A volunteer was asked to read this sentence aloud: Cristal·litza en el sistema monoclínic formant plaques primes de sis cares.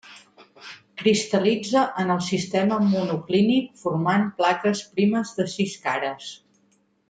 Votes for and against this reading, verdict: 3, 0, accepted